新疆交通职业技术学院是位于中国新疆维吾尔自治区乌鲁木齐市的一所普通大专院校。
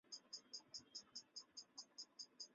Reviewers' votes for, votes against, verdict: 1, 5, rejected